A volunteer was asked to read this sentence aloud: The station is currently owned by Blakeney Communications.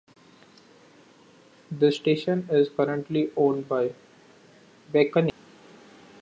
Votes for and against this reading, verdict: 0, 3, rejected